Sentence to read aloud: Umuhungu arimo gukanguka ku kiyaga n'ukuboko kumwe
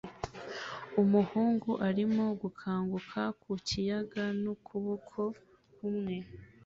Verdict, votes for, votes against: accepted, 2, 1